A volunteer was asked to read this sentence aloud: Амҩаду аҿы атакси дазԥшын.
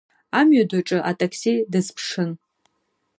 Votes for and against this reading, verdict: 2, 0, accepted